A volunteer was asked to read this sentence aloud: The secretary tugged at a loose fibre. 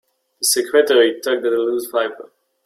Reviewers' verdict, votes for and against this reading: rejected, 1, 3